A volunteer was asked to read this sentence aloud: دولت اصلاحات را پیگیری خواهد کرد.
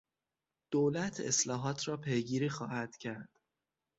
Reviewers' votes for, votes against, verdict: 6, 0, accepted